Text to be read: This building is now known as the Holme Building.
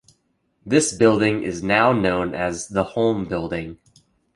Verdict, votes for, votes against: accepted, 3, 0